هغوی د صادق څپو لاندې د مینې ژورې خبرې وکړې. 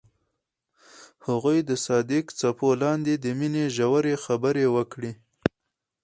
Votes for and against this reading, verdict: 2, 2, rejected